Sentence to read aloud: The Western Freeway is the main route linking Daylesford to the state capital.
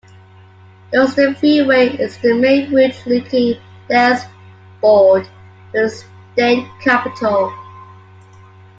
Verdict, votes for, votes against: rejected, 0, 2